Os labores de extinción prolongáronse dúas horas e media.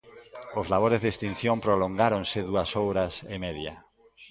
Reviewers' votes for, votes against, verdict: 0, 2, rejected